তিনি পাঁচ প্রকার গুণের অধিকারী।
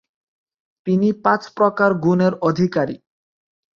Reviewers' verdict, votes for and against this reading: rejected, 0, 4